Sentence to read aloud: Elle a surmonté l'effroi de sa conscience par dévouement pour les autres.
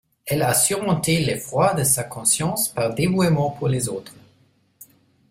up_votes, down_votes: 1, 2